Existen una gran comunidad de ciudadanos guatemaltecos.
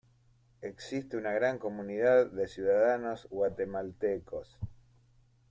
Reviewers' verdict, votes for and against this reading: rejected, 1, 2